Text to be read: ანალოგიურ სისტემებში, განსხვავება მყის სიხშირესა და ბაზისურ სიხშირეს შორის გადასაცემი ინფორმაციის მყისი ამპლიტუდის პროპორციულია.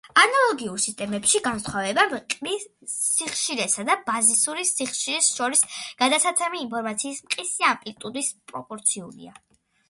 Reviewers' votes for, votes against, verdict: 1, 2, rejected